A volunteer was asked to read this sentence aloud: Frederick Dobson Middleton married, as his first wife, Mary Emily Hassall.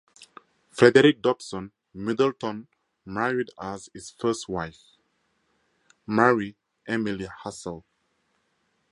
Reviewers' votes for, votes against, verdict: 2, 0, accepted